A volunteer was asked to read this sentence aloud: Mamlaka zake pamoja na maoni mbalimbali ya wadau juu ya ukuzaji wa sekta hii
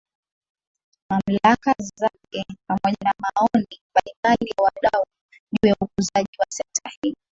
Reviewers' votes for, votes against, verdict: 2, 1, accepted